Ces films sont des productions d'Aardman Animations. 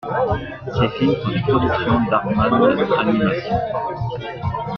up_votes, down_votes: 0, 2